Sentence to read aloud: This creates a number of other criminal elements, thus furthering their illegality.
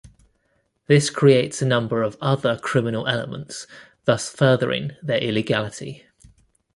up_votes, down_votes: 2, 0